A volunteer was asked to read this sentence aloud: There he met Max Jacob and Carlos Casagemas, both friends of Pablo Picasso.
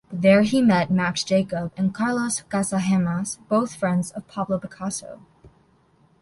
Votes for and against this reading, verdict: 1, 2, rejected